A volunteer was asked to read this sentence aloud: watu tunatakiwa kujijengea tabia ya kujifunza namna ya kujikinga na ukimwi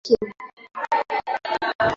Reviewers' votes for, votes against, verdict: 0, 2, rejected